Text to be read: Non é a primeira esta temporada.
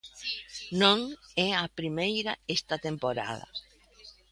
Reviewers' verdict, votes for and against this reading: accepted, 2, 1